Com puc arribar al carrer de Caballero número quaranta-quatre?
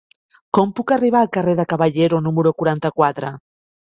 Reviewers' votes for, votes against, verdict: 3, 0, accepted